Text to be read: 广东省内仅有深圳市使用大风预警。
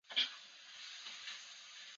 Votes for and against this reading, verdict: 1, 4, rejected